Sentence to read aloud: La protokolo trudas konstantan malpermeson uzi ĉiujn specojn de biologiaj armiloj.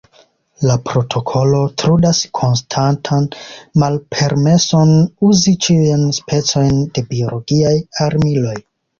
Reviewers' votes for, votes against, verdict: 2, 1, accepted